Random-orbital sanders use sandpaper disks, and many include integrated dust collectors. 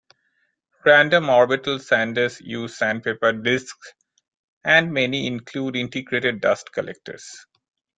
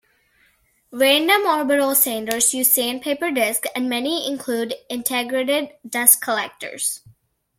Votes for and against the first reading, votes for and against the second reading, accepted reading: 2, 0, 1, 2, first